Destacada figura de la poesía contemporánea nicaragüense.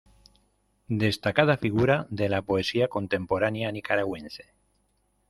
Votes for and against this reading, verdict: 2, 0, accepted